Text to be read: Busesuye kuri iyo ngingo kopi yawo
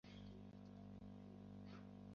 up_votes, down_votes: 1, 2